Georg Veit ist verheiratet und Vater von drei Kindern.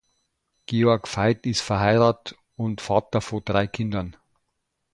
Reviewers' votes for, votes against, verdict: 0, 2, rejected